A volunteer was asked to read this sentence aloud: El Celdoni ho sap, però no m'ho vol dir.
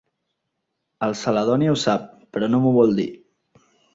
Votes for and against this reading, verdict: 0, 2, rejected